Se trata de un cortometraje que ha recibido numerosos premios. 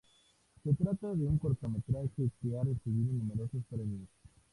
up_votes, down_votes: 2, 0